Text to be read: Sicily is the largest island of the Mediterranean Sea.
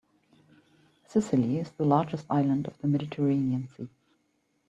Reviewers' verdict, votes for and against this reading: rejected, 1, 2